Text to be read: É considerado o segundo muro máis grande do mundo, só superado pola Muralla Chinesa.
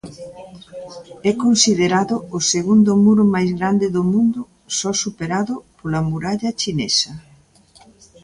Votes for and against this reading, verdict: 2, 0, accepted